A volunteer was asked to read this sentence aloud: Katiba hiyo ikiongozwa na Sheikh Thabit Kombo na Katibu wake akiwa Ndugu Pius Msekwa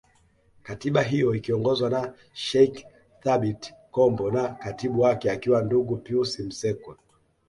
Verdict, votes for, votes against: accepted, 2, 0